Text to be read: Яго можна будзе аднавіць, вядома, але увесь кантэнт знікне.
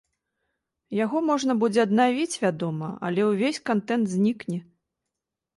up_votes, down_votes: 2, 0